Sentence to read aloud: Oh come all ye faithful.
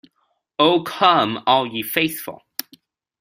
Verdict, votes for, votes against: accepted, 2, 0